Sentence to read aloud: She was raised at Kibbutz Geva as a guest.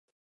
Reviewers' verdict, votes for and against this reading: rejected, 0, 2